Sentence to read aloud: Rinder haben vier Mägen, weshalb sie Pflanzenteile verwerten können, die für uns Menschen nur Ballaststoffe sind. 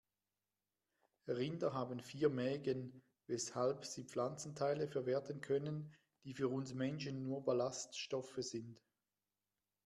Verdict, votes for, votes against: accepted, 2, 0